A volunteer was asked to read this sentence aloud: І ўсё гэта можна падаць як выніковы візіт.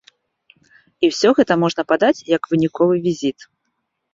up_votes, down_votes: 2, 0